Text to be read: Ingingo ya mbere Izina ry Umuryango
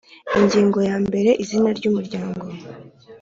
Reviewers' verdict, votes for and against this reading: accepted, 5, 0